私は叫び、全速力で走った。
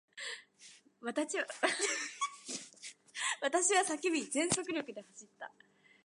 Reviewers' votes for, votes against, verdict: 0, 2, rejected